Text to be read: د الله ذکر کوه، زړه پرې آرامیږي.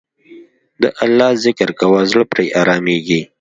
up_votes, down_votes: 2, 0